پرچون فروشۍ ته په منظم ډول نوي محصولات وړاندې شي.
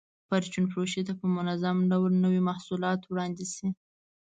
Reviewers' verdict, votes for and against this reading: accepted, 2, 0